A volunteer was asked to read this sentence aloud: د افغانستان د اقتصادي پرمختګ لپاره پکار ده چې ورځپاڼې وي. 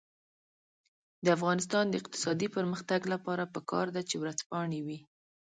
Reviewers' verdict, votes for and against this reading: rejected, 1, 2